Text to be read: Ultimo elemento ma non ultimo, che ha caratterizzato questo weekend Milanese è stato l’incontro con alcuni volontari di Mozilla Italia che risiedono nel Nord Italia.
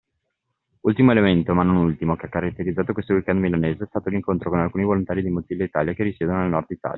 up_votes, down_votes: 2, 1